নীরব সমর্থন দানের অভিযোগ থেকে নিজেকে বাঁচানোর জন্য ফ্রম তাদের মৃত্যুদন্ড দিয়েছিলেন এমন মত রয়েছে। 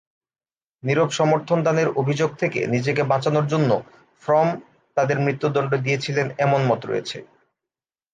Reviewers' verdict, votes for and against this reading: rejected, 1, 2